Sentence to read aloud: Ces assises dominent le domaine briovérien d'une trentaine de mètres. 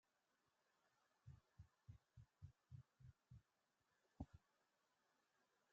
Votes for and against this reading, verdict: 0, 2, rejected